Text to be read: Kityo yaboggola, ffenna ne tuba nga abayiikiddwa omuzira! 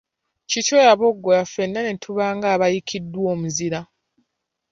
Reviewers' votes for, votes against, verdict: 2, 0, accepted